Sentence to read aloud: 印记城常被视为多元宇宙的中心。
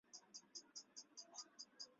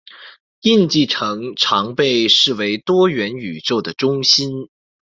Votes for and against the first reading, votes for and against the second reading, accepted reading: 1, 2, 2, 0, second